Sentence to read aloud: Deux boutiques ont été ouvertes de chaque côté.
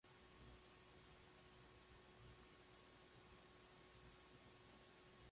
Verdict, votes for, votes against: rejected, 0, 2